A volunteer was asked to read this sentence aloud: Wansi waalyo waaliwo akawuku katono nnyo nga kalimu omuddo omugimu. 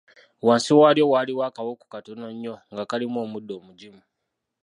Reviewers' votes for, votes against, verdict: 0, 2, rejected